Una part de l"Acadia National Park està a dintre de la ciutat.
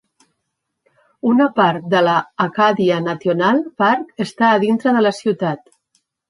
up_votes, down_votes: 1, 2